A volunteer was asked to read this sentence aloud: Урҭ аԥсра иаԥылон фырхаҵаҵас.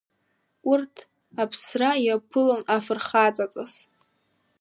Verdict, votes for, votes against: rejected, 2, 3